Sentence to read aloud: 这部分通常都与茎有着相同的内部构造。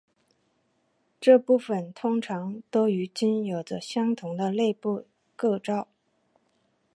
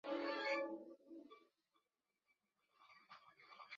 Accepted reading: first